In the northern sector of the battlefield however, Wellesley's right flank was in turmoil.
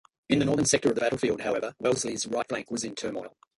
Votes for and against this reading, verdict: 2, 1, accepted